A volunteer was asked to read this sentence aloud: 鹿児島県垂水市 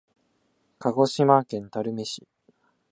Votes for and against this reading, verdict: 5, 0, accepted